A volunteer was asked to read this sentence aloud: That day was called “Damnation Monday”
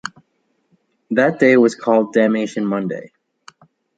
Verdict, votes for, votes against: rejected, 1, 2